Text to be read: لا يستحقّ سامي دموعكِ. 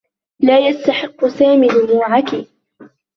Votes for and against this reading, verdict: 1, 2, rejected